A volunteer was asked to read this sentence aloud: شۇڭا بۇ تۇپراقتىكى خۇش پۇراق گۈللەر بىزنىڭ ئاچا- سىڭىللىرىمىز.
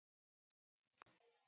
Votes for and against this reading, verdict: 0, 2, rejected